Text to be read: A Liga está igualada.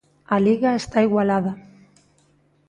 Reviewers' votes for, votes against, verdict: 2, 0, accepted